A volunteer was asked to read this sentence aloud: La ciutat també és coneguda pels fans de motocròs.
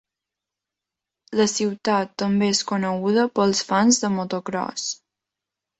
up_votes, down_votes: 4, 0